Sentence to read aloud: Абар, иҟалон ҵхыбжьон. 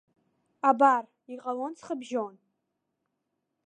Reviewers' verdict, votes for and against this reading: accepted, 2, 0